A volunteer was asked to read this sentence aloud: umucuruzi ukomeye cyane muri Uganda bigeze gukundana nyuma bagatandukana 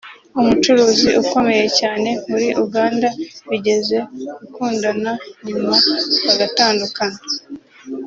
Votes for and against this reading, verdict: 4, 0, accepted